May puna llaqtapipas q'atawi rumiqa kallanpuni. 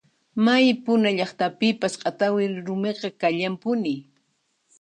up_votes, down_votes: 2, 0